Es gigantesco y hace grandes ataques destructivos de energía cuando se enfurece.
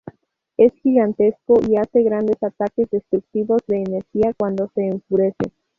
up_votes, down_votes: 2, 2